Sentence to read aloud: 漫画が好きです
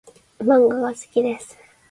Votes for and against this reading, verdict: 2, 0, accepted